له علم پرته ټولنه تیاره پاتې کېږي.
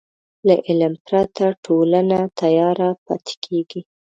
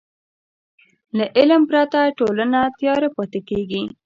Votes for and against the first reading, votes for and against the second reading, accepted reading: 1, 2, 2, 0, second